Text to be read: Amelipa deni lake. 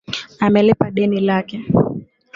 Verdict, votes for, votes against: accepted, 2, 0